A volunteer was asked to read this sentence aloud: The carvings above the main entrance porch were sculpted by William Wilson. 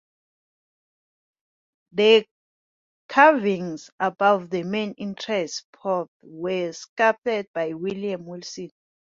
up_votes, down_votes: 1, 2